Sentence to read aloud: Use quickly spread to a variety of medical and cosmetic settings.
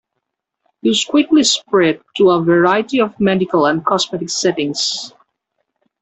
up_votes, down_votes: 2, 1